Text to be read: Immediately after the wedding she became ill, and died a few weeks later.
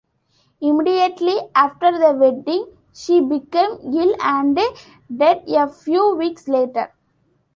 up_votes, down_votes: 0, 2